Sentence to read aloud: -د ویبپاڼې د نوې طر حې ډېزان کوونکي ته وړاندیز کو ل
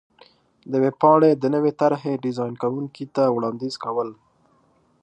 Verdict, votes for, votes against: accepted, 2, 0